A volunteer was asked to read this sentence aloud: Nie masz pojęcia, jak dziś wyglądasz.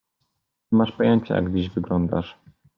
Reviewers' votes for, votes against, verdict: 2, 0, accepted